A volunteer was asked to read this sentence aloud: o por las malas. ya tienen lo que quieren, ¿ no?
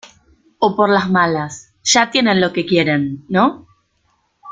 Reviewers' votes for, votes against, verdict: 2, 1, accepted